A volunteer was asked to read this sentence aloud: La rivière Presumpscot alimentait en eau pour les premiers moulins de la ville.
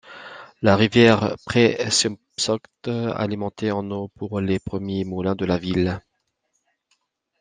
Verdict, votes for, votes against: accepted, 2, 0